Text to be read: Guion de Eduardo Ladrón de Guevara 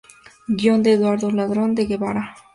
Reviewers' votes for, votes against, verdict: 2, 0, accepted